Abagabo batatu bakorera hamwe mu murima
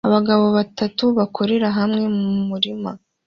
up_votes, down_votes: 2, 0